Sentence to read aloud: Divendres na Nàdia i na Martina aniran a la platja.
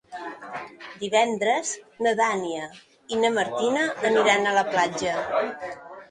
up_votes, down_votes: 0, 2